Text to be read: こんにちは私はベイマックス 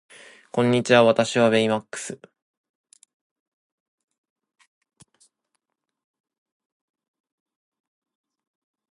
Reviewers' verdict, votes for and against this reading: rejected, 1, 2